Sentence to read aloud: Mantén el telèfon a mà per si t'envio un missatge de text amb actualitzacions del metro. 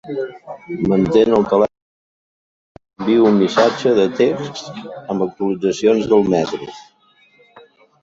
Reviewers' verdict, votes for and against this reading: rejected, 0, 3